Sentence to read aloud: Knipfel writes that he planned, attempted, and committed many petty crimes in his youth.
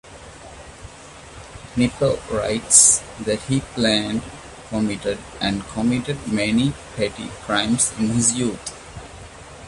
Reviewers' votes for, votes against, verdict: 0, 2, rejected